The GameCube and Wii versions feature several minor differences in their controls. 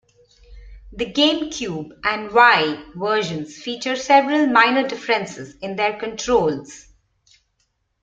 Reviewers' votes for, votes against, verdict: 0, 2, rejected